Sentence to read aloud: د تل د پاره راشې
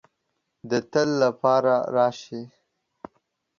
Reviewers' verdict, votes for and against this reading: accepted, 2, 1